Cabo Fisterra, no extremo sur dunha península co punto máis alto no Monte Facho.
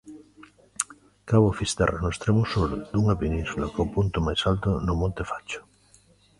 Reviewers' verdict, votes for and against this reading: rejected, 1, 2